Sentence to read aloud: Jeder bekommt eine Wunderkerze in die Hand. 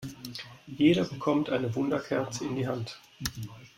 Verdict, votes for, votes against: accepted, 2, 0